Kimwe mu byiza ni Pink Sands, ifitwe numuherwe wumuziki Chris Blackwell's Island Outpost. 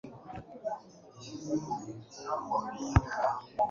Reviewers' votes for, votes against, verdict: 1, 2, rejected